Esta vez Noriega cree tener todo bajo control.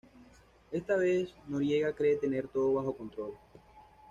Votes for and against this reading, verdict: 1, 2, rejected